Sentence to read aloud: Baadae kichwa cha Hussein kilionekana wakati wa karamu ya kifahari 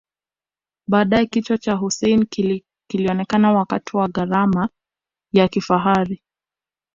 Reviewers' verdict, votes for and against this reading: rejected, 1, 2